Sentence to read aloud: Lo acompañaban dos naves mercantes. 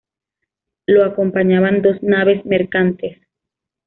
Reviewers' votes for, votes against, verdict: 2, 0, accepted